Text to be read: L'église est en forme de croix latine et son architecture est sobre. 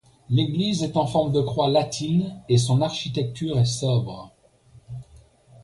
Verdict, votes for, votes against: accepted, 2, 0